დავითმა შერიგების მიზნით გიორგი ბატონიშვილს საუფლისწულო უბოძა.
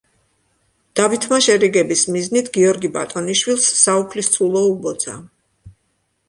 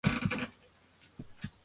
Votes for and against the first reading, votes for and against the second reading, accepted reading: 2, 0, 1, 2, first